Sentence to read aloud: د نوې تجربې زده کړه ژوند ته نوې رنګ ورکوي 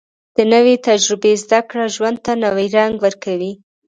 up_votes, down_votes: 2, 0